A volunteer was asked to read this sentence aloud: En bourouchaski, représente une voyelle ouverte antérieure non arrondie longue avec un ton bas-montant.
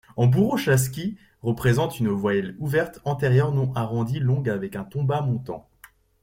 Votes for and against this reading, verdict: 2, 0, accepted